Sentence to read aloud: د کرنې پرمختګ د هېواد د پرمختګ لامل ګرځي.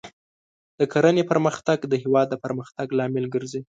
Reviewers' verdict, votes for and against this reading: accepted, 2, 0